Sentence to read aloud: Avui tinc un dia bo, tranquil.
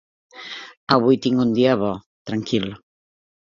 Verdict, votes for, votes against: accepted, 3, 0